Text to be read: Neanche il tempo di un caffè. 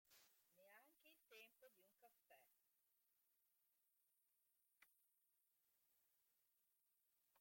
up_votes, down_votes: 0, 2